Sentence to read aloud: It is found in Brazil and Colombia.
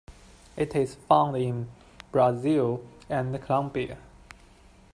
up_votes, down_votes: 1, 2